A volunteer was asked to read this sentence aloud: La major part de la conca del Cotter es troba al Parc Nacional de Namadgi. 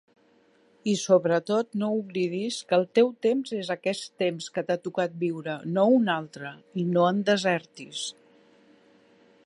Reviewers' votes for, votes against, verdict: 0, 2, rejected